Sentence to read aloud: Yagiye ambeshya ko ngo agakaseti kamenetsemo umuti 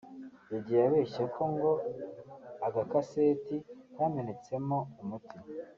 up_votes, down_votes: 1, 2